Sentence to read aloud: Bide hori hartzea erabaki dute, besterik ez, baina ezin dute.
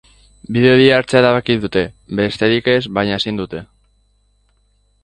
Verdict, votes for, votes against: accepted, 5, 0